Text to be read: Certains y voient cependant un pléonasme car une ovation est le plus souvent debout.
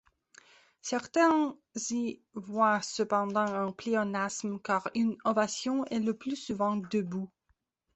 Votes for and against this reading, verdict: 1, 2, rejected